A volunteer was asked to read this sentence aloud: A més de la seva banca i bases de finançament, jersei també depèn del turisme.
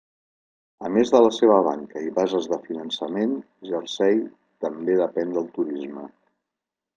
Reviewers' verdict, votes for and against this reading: accepted, 2, 0